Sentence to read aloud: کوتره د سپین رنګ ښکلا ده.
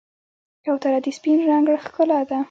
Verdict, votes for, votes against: rejected, 1, 2